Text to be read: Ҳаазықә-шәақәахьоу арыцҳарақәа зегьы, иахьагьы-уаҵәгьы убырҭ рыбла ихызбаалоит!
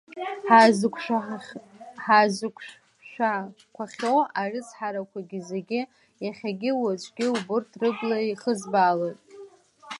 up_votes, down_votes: 0, 2